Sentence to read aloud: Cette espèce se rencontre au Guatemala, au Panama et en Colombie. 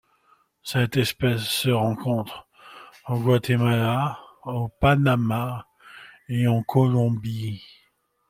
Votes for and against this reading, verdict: 2, 0, accepted